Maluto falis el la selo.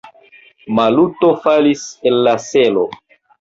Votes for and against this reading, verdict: 0, 2, rejected